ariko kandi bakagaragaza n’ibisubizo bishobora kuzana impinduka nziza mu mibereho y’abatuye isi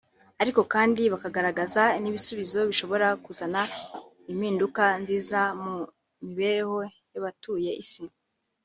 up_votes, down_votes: 3, 0